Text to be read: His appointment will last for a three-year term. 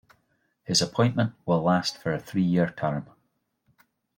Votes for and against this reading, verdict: 2, 0, accepted